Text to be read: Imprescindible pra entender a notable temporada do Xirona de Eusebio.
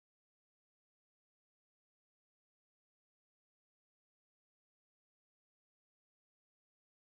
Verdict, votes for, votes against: rejected, 0, 2